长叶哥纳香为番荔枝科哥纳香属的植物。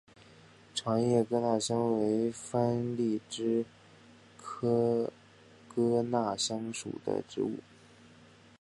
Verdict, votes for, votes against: accepted, 2, 0